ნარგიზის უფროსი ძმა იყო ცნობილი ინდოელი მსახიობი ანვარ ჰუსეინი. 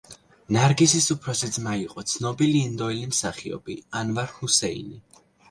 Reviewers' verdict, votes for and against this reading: accepted, 2, 0